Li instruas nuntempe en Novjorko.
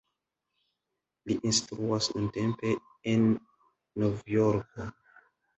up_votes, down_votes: 1, 2